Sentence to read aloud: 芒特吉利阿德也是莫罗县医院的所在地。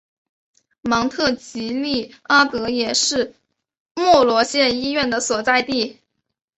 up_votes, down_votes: 2, 0